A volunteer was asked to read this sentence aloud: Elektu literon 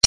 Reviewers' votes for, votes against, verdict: 0, 2, rejected